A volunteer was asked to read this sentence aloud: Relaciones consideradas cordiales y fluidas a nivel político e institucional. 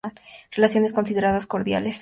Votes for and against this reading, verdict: 0, 2, rejected